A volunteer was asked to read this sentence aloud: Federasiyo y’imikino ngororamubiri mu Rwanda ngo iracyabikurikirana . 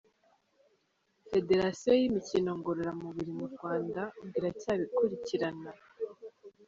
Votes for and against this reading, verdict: 2, 0, accepted